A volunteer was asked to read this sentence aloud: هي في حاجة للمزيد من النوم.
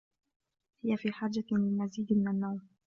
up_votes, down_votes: 2, 0